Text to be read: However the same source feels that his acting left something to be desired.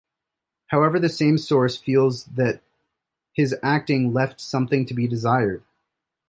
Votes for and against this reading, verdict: 1, 2, rejected